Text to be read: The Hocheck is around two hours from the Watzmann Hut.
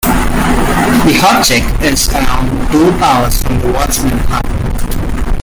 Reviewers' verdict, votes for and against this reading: rejected, 1, 2